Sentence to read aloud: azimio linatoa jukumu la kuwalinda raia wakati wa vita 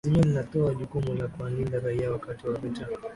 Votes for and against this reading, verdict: 7, 7, rejected